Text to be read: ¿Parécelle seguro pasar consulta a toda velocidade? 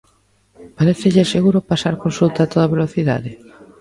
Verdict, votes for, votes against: rejected, 1, 2